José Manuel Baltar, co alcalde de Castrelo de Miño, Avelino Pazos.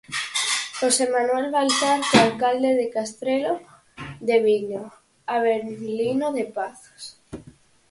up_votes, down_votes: 2, 4